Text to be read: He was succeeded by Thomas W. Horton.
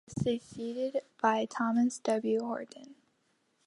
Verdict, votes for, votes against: accepted, 2, 0